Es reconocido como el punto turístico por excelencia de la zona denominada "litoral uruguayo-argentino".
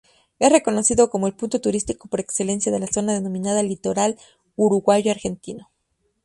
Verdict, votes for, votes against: rejected, 0, 2